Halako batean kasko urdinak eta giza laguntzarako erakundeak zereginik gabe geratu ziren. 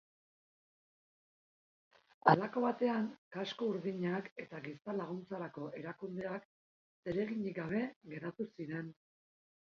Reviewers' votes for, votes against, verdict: 3, 1, accepted